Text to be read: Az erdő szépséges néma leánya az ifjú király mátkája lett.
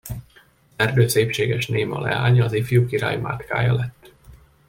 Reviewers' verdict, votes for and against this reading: rejected, 0, 2